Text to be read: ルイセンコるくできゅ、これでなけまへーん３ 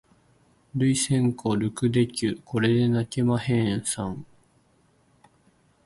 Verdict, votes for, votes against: rejected, 0, 2